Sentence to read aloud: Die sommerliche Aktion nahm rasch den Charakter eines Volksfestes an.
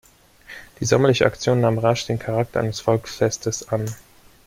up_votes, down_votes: 2, 0